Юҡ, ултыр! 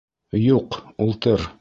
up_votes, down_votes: 2, 0